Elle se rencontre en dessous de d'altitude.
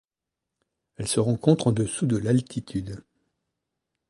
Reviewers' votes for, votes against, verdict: 1, 2, rejected